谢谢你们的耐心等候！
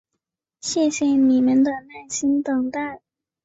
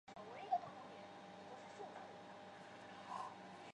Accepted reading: first